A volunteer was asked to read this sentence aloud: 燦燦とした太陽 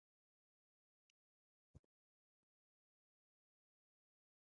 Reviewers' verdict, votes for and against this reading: rejected, 0, 2